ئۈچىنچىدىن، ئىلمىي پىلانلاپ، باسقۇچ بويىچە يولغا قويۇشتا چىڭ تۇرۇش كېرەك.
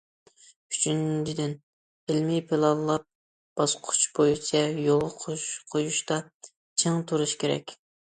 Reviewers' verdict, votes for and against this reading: rejected, 1, 2